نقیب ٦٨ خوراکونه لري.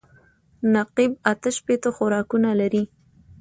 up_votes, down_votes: 0, 2